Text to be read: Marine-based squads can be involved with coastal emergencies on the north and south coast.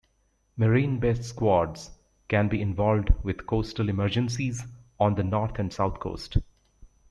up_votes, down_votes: 2, 0